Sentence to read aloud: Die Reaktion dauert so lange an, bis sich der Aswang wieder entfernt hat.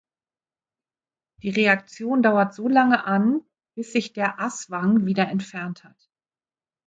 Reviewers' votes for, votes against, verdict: 2, 0, accepted